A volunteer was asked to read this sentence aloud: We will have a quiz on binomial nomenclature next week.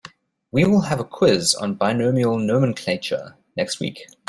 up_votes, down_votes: 2, 0